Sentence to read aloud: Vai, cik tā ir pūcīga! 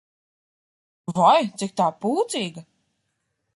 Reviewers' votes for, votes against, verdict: 1, 2, rejected